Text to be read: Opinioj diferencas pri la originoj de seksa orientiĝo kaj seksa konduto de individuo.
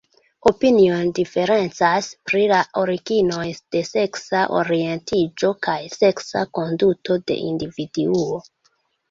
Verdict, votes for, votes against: accepted, 2, 0